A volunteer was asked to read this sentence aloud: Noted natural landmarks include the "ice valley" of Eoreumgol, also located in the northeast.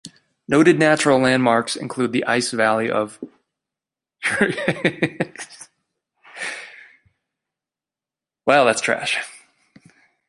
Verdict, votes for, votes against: rejected, 0, 2